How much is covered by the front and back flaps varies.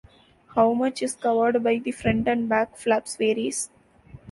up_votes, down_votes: 2, 0